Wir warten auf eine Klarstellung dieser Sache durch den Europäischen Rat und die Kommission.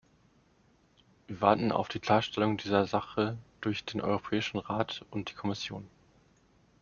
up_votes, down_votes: 1, 2